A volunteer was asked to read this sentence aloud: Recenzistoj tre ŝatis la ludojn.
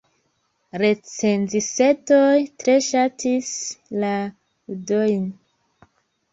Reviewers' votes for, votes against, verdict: 1, 2, rejected